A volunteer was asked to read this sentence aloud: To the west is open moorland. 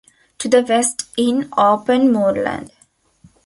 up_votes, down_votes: 1, 2